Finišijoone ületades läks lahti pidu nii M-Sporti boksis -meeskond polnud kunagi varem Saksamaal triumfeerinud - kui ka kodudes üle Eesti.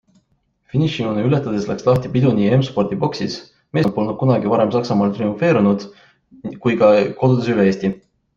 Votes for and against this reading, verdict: 2, 0, accepted